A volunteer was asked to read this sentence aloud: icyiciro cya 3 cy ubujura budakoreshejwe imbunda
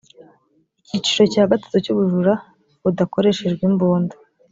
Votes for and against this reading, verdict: 0, 2, rejected